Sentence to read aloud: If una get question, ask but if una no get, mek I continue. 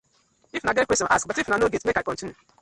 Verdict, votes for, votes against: rejected, 1, 2